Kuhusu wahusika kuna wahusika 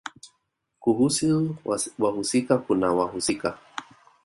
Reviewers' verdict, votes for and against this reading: accepted, 2, 0